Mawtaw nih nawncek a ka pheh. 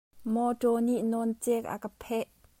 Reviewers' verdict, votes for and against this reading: rejected, 1, 2